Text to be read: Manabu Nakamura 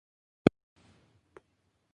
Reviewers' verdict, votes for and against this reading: rejected, 0, 4